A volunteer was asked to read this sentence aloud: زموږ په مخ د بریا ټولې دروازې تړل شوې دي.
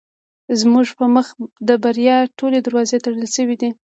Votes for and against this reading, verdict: 2, 1, accepted